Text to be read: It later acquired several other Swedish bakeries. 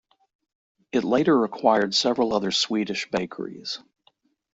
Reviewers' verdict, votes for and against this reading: accepted, 2, 1